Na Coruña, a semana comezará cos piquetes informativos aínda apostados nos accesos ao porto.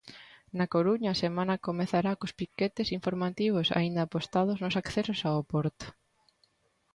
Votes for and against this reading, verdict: 2, 0, accepted